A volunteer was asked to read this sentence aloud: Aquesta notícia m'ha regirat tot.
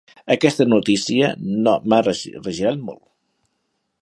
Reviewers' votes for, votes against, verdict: 1, 4, rejected